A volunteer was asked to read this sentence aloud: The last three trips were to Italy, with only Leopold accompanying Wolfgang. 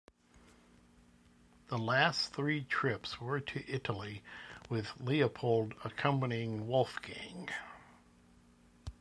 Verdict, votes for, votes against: rejected, 0, 2